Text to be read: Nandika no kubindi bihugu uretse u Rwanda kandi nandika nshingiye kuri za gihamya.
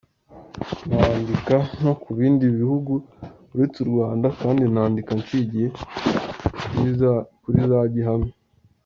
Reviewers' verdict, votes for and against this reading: rejected, 1, 2